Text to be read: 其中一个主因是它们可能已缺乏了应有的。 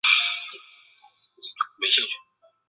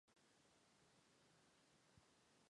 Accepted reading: first